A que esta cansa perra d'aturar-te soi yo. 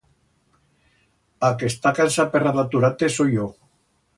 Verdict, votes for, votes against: accepted, 2, 0